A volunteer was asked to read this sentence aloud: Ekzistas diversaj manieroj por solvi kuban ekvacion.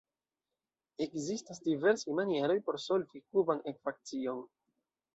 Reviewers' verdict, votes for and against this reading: accepted, 2, 0